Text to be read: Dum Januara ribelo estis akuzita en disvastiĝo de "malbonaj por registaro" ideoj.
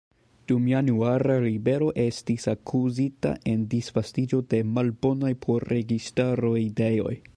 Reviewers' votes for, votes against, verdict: 2, 0, accepted